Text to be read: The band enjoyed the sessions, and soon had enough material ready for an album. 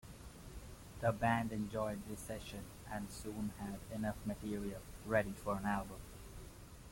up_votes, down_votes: 0, 2